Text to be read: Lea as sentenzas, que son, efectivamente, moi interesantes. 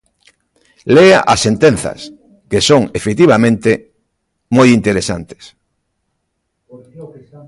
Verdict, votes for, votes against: accepted, 2, 1